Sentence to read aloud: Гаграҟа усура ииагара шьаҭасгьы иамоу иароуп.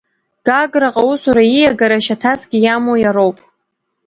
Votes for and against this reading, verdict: 2, 0, accepted